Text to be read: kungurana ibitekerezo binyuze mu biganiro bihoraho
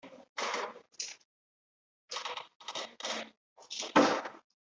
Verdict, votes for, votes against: rejected, 0, 2